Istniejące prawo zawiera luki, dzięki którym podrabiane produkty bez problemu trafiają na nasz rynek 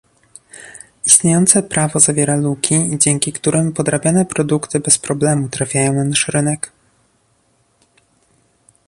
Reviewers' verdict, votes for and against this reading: accepted, 2, 0